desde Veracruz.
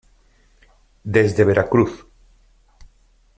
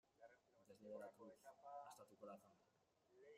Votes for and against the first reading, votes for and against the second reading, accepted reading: 2, 0, 0, 2, first